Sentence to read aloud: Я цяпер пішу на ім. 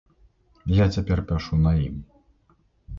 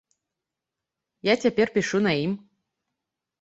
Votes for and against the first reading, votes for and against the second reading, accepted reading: 1, 2, 2, 0, second